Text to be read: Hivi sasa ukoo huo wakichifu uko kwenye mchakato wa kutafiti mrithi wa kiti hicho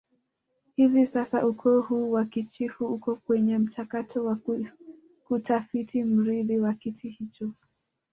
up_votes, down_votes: 1, 2